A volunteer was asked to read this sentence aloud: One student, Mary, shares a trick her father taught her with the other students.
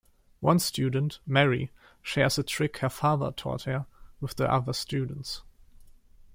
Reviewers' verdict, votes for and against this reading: accepted, 2, 0